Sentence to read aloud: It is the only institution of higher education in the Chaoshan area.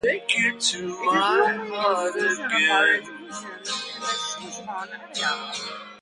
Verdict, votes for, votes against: rejected, 0, 2